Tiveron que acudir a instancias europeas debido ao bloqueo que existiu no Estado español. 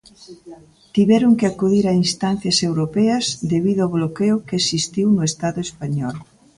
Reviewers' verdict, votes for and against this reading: accepted, 2, 0